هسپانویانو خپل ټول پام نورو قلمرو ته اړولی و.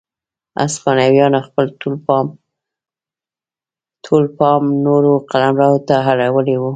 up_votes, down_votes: 1, 2